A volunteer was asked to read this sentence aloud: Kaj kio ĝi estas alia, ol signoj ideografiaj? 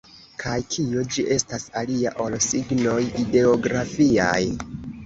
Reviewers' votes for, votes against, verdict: 0, 2, rejected